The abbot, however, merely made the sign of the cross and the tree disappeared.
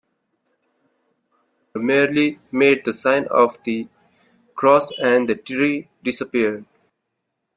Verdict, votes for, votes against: rejected, 0, 2